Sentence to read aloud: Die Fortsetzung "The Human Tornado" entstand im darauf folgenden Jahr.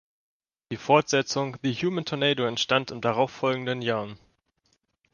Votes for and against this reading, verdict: 1, 2, rejected